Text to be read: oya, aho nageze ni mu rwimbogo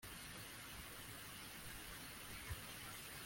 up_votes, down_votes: 0, 2